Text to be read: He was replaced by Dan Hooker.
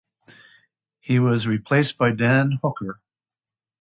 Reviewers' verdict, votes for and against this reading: accepted, 2, 0